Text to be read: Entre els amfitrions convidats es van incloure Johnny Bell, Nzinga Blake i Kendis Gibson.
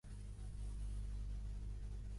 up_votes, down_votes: 0, 2